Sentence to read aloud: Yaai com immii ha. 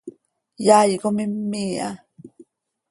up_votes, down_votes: 2, 0